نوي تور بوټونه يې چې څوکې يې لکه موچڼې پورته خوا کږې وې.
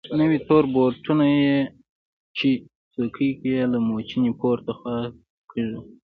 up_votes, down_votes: 2, 0